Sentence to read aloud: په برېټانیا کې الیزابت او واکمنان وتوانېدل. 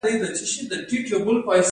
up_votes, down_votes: 1, 2